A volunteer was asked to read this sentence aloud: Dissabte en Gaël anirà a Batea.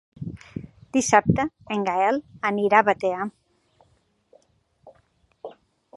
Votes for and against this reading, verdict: 3, 0, accepted